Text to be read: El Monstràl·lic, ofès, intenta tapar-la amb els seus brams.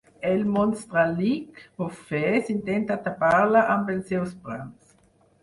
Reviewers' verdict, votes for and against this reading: rejected, 2, 4